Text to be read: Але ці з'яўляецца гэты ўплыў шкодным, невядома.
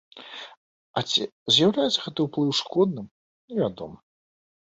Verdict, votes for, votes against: rejected, 1, 2